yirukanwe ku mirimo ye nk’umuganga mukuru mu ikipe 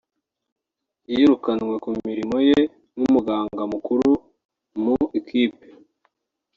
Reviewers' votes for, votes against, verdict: 2, 1, accepted